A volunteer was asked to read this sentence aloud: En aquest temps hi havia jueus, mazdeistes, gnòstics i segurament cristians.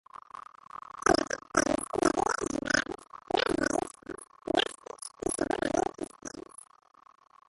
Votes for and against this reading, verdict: 0, 2, rejected